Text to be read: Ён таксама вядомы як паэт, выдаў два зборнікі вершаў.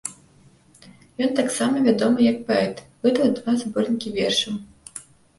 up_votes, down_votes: 2, 0